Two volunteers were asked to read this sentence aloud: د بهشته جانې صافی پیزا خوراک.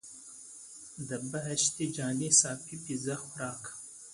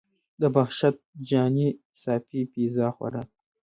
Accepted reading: first